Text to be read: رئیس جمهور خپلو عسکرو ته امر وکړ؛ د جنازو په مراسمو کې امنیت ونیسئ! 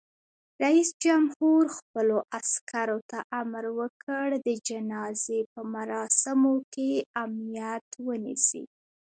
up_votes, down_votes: 0, 2